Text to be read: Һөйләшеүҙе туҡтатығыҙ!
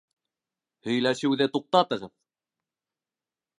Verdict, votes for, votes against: accepted, 2, 0